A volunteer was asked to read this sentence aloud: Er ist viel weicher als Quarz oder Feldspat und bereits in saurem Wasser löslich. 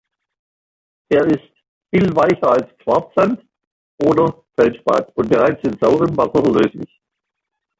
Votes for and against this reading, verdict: 0, 2, rejected